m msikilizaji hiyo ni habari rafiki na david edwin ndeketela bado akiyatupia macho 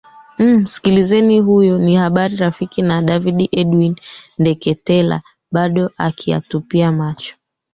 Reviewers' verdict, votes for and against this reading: rejected, 0, 3